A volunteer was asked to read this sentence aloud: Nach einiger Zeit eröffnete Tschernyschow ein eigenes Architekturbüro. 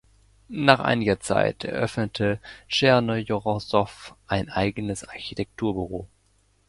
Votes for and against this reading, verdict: 1, 2, rejected